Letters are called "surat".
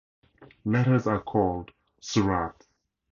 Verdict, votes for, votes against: rejected, 2, 2